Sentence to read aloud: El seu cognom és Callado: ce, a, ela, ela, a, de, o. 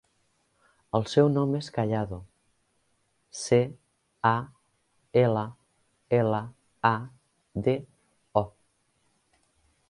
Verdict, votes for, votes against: rejected, 1, 2